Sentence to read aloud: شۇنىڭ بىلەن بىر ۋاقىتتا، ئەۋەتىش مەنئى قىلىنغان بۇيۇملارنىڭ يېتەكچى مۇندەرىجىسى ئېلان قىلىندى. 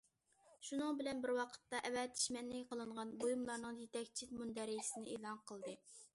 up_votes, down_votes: 0, 2